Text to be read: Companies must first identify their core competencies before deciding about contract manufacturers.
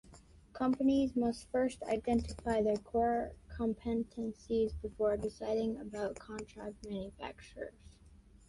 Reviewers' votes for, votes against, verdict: 0, 2, rejected